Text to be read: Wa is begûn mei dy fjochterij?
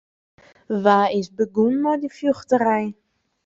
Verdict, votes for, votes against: accepted, 2, 0